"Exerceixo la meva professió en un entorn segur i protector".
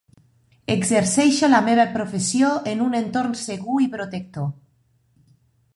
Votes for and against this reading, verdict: 3, 0, accepted